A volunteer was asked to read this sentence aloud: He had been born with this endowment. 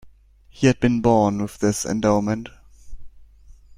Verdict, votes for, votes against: accepted, 2, 0